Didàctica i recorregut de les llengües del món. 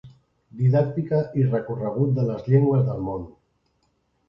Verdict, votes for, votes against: accepted, 3, 0